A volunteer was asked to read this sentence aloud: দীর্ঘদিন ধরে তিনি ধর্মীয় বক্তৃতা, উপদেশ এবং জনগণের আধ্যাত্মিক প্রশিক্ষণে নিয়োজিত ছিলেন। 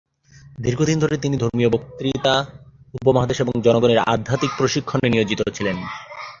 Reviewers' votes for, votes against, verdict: 0, 2, rejected